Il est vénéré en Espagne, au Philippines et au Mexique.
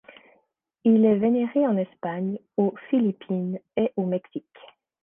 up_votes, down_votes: 2, 0